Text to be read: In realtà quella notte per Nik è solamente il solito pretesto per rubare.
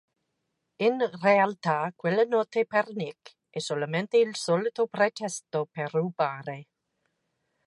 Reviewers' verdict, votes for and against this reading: accepted, 2, 0